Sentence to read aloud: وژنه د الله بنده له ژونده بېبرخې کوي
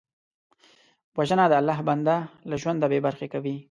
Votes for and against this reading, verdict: 2, 0, accepted